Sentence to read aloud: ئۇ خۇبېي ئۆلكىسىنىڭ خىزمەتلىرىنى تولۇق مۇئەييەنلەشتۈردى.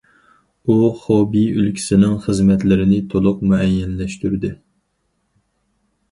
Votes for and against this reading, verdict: 2, 4, rejected